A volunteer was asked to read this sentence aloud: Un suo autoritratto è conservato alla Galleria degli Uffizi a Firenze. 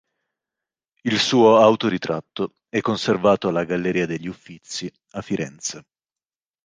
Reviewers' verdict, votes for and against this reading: rejected, 1, 2